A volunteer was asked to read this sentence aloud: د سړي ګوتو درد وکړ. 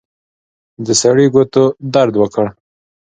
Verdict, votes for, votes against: accepted, 2, 0